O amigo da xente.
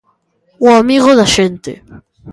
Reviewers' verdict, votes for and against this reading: accepted, 2, 0